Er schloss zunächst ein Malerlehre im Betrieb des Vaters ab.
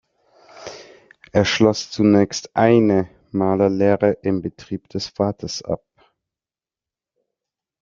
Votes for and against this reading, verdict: 0, 2, rejected